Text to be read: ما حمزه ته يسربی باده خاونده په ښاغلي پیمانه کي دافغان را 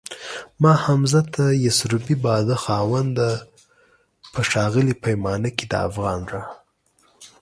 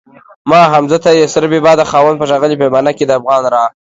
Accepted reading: first